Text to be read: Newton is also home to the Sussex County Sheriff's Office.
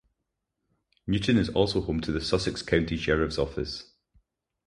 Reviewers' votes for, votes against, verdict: 4, 0, accepted